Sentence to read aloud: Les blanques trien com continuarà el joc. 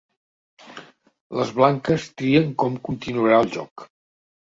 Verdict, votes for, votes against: accepted, 3, 0